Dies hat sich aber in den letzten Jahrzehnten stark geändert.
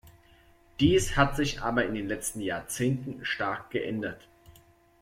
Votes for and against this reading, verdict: 2, 0, accepted